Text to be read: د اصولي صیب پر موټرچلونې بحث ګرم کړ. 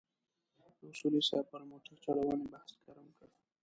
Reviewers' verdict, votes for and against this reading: rejected, 2, 3